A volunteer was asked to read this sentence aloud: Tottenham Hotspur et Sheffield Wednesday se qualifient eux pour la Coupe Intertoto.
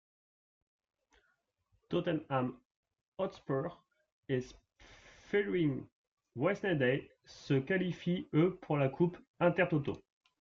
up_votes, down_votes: 1, 2